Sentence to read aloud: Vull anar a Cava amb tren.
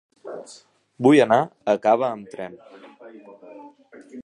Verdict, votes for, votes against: accepted, 2, 0